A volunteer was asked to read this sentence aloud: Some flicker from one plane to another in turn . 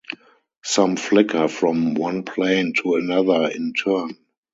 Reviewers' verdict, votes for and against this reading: accepted, 4, 0